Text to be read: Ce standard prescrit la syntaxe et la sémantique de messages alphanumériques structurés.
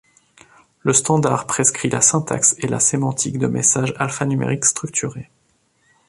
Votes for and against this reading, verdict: 1, 2, rejected